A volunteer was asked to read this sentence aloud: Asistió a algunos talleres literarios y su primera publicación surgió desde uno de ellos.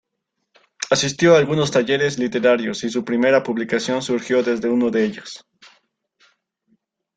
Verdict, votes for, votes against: accepted, 2, 0